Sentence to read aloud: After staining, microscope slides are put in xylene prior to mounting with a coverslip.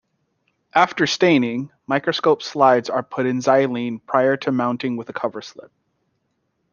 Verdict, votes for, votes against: accepted, 2, 0